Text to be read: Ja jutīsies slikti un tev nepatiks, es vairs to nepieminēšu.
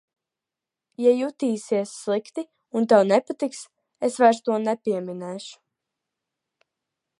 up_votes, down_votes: 2, 0